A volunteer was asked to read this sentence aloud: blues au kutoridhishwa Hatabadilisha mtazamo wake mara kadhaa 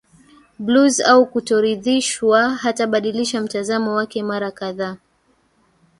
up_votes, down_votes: 1, 2